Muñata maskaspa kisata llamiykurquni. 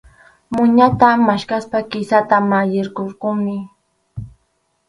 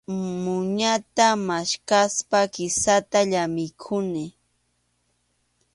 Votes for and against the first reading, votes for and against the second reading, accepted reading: 0, 2, 2, 0, second